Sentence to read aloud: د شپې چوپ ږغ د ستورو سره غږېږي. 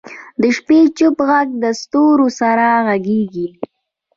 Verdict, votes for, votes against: rejected, 1, 2